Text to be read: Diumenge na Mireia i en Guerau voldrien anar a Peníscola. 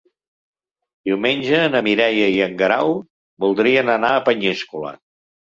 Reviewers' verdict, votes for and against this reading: rejected, 1, 2